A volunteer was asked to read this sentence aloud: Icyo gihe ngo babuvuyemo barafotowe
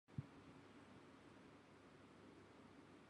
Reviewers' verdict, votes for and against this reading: rejected, 1, 2